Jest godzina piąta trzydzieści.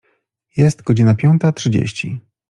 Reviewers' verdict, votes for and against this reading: accepted, 2, 0